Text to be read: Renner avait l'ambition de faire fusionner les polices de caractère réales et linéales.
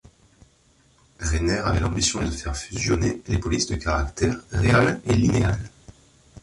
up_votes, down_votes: 1, 2